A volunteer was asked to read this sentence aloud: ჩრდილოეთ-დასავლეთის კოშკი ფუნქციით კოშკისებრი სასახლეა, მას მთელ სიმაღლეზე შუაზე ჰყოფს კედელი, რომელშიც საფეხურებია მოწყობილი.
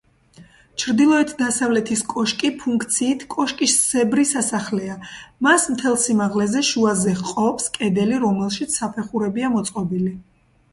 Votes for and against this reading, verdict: 2, 0, accepted